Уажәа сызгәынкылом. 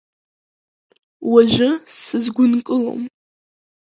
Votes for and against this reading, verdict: 0, 3, rejected